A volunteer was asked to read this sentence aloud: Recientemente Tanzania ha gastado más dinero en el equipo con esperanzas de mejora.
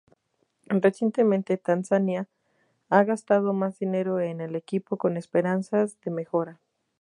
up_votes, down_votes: 2, 0